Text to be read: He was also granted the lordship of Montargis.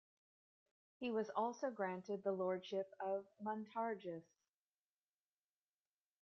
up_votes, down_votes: 1, 2